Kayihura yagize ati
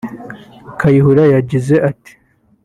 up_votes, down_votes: 2, 0